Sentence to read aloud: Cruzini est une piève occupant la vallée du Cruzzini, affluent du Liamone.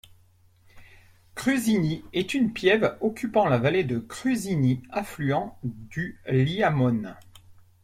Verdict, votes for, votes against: accepted, 2, 0